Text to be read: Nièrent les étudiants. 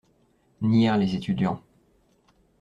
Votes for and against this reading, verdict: 1, 2, rejected